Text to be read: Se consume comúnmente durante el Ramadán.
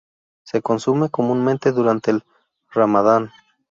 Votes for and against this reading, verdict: 2, 0, accepted